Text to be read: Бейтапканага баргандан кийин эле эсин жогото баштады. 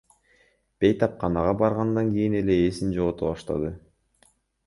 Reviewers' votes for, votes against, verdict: 1, 2, rejected